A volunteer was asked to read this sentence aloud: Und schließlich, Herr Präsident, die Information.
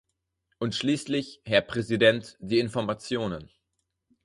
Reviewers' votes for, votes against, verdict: 2, 4, rejected